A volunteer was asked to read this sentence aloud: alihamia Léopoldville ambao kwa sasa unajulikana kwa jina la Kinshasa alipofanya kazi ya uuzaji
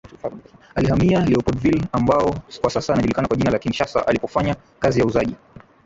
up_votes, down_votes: 0, 2